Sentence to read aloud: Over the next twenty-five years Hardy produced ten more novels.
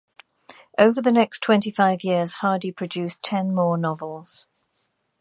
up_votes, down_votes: 2, 1